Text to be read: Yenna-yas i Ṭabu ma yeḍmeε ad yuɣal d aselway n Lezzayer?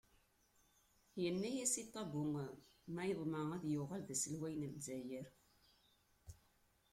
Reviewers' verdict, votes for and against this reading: rejected, 1, 2